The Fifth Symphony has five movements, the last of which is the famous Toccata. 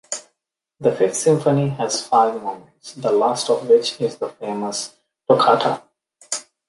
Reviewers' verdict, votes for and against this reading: rejected, 1, 2